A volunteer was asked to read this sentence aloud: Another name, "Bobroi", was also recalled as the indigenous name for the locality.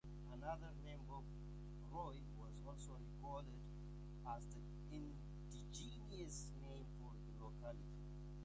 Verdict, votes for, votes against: accepted, 2, 0